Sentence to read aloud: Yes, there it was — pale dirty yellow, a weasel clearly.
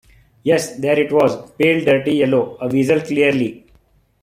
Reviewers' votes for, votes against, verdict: 2, 0, accepted